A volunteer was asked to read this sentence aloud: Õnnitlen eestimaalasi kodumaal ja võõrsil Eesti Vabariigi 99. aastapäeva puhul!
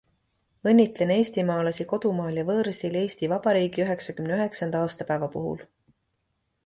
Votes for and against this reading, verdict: 0, 2, rejected